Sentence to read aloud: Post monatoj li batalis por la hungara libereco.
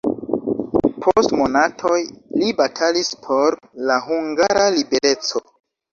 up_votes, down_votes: 2, 1